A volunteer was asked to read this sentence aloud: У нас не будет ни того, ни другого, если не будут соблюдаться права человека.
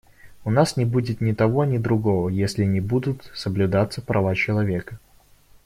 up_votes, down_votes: 0, 2